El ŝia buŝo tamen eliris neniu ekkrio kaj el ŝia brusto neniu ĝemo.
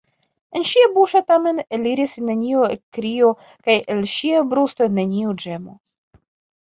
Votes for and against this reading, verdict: 0, 2, rejected